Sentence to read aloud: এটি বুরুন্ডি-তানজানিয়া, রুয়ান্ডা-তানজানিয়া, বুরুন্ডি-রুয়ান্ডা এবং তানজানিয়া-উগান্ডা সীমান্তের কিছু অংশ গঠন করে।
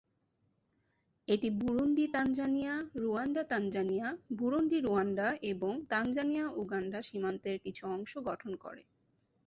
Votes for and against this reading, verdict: 2, 0, accepted